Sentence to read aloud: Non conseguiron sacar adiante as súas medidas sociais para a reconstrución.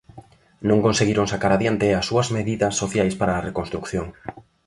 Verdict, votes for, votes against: rejected, 1, 2